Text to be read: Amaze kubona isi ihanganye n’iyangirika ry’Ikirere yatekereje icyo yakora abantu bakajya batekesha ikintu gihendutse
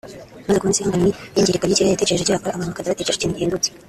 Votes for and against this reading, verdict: 0, 3, rejected